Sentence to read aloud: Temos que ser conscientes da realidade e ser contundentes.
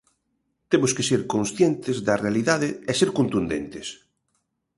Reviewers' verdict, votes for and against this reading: accepted, 3, 0